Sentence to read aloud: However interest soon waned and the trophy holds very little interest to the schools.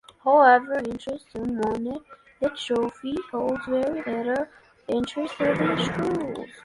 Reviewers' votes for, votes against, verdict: 1, 2, rejected